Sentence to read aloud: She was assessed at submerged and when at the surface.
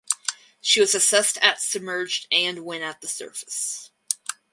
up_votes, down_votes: 2, 0